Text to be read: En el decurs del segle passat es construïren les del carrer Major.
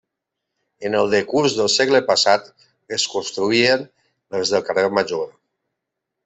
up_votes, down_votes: 2, 1